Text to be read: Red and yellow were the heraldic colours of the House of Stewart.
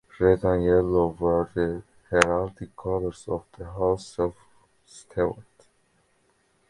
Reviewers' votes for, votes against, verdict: 0, 2, rejected